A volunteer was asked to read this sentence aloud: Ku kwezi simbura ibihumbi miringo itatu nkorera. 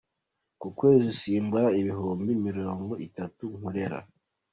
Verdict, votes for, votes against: accepted, 2, 0